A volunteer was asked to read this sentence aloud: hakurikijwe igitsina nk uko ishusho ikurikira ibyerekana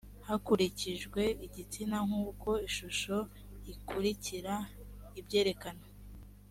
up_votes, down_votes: 2, 0